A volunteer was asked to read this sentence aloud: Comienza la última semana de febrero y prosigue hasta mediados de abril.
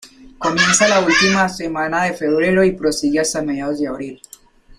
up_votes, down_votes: 2, 4